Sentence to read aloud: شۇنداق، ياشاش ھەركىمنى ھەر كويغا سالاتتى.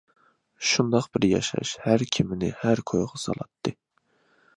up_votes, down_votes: 0, 2